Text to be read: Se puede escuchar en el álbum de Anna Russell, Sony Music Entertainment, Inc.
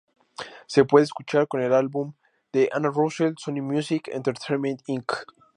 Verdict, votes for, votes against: rejected, 0, 2